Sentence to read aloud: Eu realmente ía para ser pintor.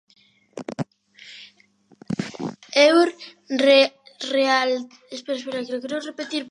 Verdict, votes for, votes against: rejected, 0, 3